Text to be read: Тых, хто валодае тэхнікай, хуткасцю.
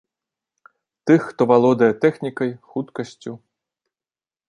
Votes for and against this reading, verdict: 2, 0, accepted